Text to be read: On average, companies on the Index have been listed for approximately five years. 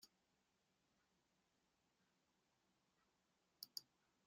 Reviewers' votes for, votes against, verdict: 0, 2, rejected